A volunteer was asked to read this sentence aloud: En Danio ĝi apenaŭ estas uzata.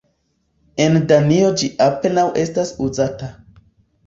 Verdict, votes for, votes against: accepted, 3, 1